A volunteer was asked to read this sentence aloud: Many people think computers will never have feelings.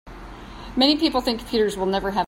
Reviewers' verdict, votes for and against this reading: rejected, 0, 2